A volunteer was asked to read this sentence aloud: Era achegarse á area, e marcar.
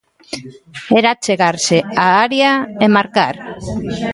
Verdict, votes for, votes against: accepted, 2, 1